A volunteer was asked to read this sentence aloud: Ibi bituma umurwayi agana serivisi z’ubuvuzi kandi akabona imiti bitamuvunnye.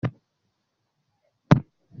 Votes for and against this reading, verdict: 0, 2, rejected